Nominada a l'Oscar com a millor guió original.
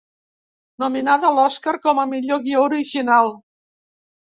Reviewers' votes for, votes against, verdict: 2, 0, accepted